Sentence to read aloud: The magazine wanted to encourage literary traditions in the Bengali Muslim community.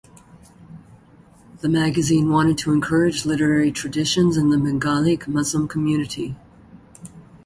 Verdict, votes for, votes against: rejected, 1, 2